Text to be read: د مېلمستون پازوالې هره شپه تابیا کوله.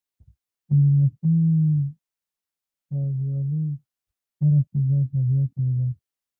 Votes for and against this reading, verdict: 0, 2, rejected